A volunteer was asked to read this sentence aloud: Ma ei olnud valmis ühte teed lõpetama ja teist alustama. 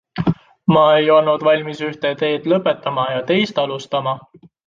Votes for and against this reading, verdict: 2, 0, accepted